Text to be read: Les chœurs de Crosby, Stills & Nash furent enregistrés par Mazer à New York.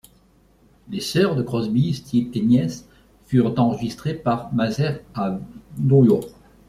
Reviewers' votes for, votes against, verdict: 1, 2, rejected